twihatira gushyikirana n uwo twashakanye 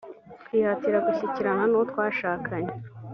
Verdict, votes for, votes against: accepted, 2, 0